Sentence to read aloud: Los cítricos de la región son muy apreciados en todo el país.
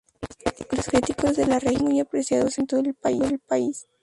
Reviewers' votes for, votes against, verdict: 0, 2, rejected